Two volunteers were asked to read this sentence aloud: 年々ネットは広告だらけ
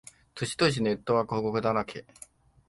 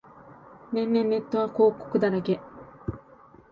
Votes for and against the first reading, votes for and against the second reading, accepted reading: 0, 2, 2, 0, second